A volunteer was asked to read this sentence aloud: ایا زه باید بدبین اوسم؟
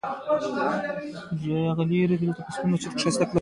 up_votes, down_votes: 2, 0